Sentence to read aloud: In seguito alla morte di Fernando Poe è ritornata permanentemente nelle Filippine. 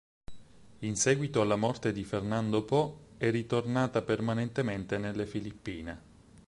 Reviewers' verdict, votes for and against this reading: accepted, 4, 0